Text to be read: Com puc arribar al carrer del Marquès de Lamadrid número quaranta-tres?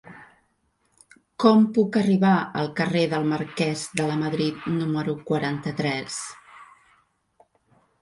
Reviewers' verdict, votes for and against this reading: accepted, 2, 0